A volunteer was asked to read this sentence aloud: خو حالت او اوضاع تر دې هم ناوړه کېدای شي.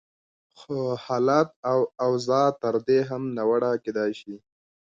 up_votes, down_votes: 2, 0